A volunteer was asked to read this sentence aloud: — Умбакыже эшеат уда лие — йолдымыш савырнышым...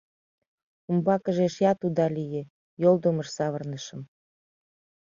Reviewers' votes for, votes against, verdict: 2, 0, accepted